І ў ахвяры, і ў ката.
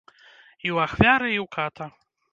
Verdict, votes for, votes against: accepted, 2, 0